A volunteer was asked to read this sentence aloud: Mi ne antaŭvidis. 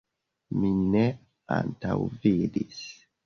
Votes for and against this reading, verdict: 2, 0, accepted